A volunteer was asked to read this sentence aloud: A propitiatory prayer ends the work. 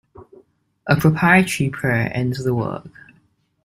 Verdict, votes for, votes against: rejected, 0, 2